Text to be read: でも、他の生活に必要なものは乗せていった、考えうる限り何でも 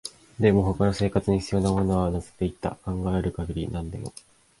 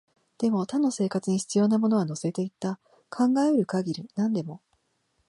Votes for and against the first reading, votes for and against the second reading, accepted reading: 2, 0, 3, 3, first